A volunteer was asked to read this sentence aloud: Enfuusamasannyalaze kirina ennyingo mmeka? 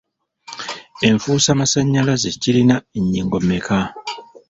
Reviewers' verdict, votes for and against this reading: rejected, 1, 2